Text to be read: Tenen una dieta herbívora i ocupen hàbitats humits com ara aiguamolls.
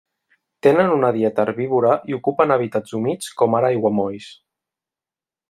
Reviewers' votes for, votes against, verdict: 1, 2, rejected